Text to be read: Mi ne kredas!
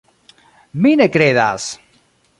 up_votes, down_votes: 0, 2